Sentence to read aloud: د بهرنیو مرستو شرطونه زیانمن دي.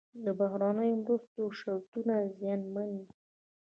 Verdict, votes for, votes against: rejected, 1, 2